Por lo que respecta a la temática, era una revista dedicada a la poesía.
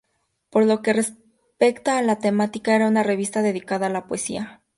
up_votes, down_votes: 2, 0